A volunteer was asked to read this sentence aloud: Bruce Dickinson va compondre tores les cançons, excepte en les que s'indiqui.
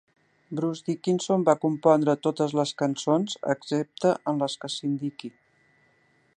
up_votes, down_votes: 0, 3